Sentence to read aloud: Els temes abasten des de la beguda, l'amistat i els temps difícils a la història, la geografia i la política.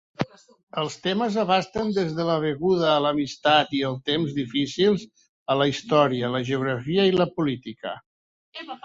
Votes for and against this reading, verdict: 1, 3, rejected